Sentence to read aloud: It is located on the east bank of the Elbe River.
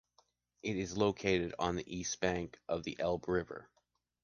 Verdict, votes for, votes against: accepted, 2, 0